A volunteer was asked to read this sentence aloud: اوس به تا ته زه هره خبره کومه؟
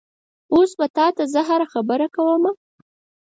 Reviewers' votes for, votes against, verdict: 4, 0, accepted